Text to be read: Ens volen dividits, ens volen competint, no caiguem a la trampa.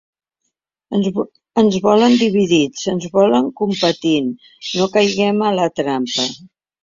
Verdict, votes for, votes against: rejected, 0, 3